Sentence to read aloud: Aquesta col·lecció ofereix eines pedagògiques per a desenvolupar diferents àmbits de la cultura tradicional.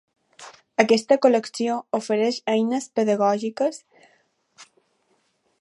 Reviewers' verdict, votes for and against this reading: rejected, 0, 2